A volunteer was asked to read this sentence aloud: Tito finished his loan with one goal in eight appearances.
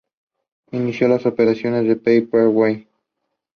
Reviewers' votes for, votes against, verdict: 0, 2, rejected